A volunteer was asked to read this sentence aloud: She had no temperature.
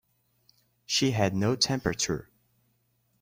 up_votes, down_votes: 2, 0